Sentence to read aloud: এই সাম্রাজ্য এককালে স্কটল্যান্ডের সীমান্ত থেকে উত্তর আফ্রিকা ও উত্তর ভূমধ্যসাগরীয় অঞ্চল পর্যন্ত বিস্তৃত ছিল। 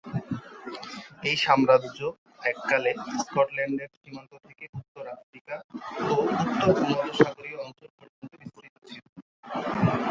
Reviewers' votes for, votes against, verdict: 0, 5, rejected